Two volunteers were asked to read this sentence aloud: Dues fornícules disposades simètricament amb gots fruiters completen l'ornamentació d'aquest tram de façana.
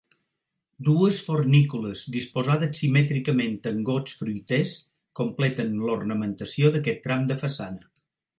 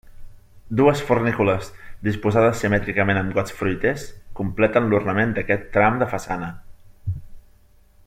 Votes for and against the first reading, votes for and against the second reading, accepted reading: 2, 0, 1, 2, first